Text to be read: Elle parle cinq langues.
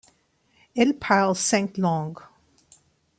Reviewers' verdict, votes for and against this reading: accepted, 2, 0